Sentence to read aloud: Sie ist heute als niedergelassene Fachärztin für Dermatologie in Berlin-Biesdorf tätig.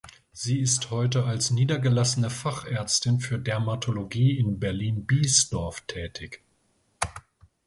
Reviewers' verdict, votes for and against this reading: accepted, 2, 0